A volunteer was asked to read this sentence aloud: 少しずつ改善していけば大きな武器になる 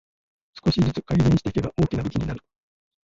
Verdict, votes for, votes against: rejected, 1, 2